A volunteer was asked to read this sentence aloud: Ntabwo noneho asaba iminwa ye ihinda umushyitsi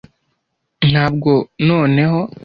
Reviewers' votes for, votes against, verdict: 0, 2, rejected